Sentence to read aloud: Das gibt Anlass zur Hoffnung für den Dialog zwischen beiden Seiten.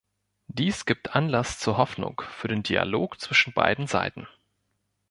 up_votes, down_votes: 1, 3